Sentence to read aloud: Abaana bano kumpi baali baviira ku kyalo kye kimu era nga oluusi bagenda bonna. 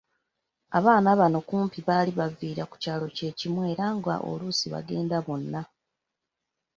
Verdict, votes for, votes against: rejected, 0, 2